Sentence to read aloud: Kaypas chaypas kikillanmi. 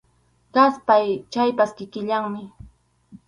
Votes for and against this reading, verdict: 2, 2, rejected